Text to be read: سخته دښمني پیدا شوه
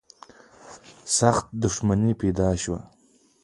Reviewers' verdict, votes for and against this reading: rejected, 0, 2